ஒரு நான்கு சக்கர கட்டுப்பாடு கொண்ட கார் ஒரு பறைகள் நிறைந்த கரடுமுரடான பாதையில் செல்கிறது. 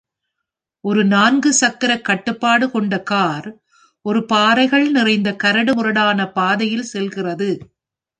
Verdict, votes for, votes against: rejected, 1, 2